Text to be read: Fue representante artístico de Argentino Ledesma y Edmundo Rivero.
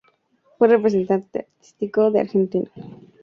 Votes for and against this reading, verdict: 0, 4, rejected